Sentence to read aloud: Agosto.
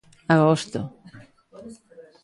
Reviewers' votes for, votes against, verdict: 1, 2, rejected